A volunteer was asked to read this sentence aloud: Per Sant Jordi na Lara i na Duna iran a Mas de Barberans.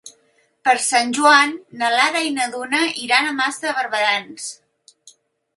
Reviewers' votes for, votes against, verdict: 1, 2, rejected